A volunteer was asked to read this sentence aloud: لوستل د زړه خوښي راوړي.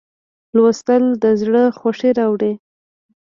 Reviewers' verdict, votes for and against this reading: accepted, 2, 0